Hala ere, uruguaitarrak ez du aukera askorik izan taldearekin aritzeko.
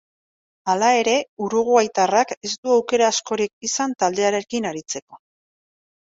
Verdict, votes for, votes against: accepted, 2, 0